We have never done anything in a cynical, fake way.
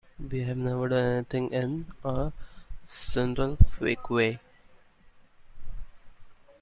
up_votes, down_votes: 1, 2